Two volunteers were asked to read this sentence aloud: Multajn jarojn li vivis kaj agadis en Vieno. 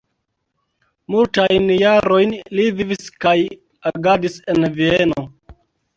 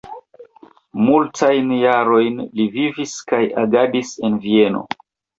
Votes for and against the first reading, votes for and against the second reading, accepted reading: 1, 2, 2, 0, second